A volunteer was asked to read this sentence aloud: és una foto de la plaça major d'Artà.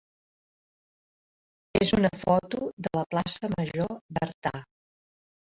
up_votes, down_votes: 2, 0